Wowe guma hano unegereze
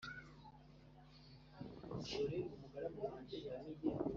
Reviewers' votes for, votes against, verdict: 1, 2, rejected